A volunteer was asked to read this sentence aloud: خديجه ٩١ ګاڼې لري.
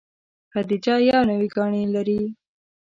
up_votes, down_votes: 0, 2